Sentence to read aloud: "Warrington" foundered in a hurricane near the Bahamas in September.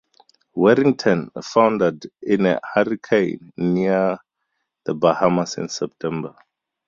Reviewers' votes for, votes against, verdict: 4, 0, accepted